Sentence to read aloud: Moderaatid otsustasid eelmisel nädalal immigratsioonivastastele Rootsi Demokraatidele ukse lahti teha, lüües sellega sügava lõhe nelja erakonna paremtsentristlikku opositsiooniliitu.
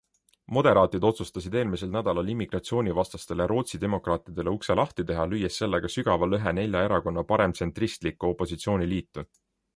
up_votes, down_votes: 2, 0